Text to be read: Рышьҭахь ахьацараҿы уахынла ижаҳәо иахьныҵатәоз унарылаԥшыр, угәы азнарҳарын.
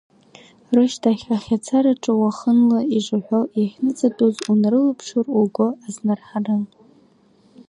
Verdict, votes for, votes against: rejected, 0, 2